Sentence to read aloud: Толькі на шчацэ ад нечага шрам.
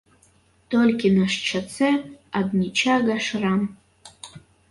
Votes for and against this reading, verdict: 0, 2, rejected